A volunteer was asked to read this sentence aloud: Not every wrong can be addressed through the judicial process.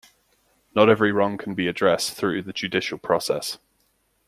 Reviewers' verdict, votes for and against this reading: accepted, 2, 0